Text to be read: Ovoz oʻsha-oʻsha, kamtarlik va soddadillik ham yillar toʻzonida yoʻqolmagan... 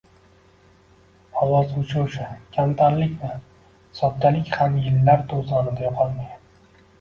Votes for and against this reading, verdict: 0, 2, rejected